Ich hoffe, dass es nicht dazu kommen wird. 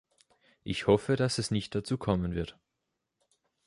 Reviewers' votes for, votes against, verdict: 2, 0, accepted